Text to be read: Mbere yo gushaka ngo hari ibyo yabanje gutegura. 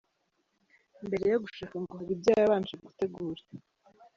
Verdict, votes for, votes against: rejected, 0, 2